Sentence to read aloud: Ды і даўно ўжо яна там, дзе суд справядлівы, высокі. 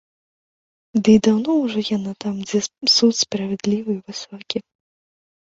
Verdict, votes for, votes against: accepted, 2, 0